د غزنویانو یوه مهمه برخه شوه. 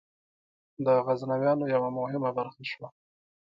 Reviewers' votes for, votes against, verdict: 1, 2, rejected